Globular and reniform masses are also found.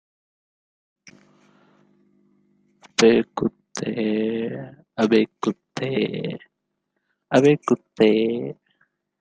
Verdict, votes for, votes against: rejected, 0, 2